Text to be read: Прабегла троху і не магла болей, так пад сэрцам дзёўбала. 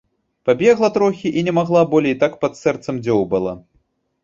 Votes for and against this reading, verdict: 1, 2, rejected